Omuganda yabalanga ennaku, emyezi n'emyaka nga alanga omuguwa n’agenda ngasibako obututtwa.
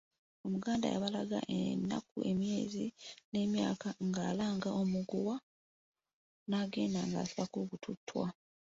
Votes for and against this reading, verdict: 0, 2, rejected